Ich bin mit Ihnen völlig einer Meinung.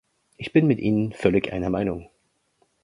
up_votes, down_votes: 2, 0